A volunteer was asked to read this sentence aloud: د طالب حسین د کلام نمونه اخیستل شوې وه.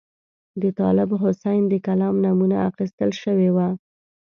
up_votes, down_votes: 2, 0